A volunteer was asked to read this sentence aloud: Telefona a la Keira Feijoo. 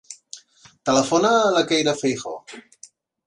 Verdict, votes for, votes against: accepted, 2, 0